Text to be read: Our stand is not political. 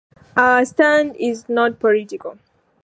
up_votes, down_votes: 2, 0